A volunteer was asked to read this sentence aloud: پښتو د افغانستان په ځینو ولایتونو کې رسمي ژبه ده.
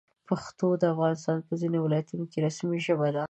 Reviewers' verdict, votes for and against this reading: accepted, 2, 0